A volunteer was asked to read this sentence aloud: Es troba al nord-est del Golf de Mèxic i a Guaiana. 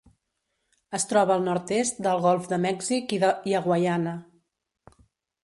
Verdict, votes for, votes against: rejected, 1, 2